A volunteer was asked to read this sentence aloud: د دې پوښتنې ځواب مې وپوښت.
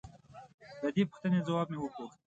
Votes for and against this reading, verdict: 0, 2, rejected